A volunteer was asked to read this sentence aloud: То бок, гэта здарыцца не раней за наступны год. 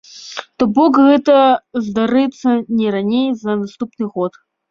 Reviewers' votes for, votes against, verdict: 1, 2, rejected